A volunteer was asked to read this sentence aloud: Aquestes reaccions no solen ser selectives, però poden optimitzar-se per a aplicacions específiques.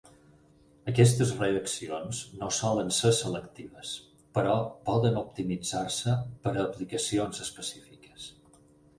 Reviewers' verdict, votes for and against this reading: accepted, 8, 0